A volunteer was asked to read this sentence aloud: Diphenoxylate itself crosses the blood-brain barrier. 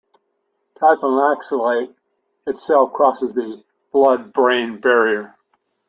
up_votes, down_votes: 2, 1